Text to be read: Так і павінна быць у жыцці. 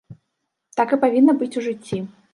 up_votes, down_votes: 2, 0